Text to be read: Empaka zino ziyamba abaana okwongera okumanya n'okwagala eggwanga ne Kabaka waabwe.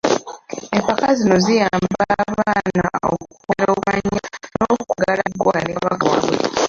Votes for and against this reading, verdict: 0, 2, rejected